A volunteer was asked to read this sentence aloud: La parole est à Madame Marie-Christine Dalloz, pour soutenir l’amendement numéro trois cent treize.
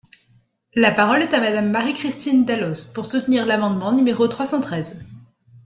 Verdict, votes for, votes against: accepted, 2, 0